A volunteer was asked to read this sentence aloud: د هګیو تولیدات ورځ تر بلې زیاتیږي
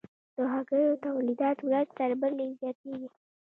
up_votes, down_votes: 2, 0